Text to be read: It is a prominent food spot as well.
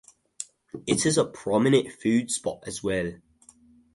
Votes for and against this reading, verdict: 2, 0, accepted